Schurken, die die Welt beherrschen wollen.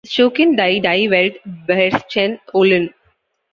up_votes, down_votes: 1, 2